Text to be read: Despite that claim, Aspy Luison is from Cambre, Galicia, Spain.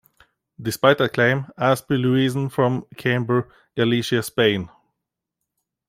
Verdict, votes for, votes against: rejected, 0, 2